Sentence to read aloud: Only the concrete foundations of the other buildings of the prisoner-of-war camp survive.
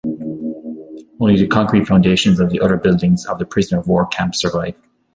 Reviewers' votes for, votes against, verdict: 0, 2, rejected